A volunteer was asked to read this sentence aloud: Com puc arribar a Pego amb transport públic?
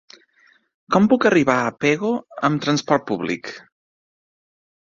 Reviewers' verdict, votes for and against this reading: accepted, 2, 0